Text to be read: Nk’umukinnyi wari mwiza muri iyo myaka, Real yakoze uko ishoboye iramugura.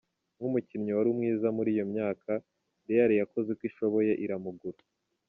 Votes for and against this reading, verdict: 2, 0, accepted